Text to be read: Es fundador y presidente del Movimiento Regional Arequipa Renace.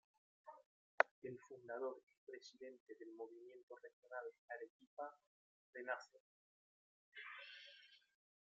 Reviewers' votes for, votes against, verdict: 0, 2, rejected